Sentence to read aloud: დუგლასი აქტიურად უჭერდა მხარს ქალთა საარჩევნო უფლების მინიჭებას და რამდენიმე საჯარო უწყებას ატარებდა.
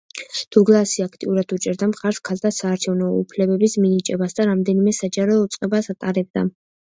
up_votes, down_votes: 0, 2